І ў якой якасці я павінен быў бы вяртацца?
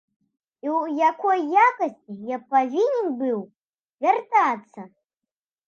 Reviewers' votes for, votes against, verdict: 1, 2, rejected